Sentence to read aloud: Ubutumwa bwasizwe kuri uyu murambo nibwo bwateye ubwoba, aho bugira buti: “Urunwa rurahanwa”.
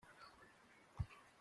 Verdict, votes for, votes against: rejected, 0, 2